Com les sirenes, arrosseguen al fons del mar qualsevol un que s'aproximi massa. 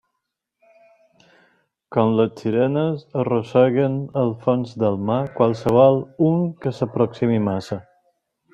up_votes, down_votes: 2, 0